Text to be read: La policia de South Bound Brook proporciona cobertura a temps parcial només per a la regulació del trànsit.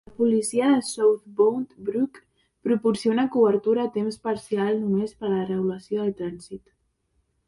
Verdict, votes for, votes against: rejected, 0, 2